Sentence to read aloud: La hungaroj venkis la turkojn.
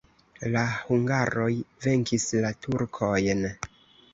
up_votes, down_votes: 2, 0